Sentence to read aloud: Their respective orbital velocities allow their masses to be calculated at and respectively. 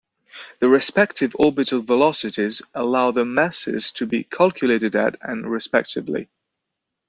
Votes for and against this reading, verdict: 0, 2, rejected